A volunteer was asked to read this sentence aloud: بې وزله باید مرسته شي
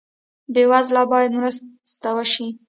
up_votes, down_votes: 1, 2